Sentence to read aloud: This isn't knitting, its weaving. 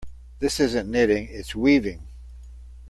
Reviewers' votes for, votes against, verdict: 2, 0, accepted